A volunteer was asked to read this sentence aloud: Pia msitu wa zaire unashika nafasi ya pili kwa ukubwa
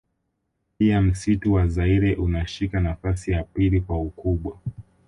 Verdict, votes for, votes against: accepted, 2, 0